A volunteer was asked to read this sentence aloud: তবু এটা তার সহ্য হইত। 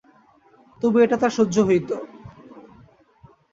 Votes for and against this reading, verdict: 2, 0, accepted